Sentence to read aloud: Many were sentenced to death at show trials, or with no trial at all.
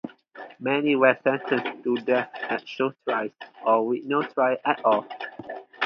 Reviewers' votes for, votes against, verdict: 0, 2, rejected